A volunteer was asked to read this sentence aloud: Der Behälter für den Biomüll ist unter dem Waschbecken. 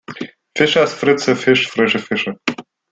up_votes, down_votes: 0, 2